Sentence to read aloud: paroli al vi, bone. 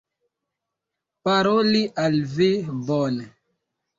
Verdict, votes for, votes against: accepted, 2, 0